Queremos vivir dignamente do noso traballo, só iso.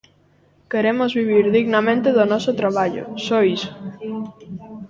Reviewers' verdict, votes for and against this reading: accepted, 2, 1